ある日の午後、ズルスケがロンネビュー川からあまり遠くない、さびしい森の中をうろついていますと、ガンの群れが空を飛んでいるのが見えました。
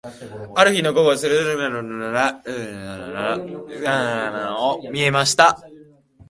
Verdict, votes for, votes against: rejected, 0, 2